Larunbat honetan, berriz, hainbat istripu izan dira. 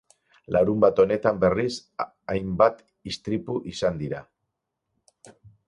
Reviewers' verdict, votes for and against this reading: rejected, 0, 6